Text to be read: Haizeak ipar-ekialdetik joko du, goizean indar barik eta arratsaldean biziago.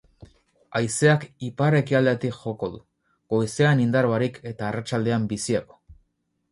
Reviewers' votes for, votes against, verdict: 6, 0, accepted